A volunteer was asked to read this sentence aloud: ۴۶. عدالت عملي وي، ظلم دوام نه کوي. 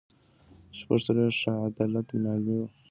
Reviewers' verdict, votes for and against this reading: rejected, 0, 2